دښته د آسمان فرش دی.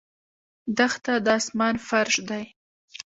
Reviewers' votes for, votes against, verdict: 0, 2, rejected